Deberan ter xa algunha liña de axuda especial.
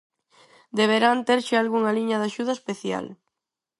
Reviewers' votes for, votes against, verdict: 2, 4, rejected